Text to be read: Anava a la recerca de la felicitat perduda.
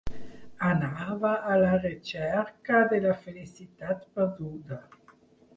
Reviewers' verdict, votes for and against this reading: accepted, 4, 2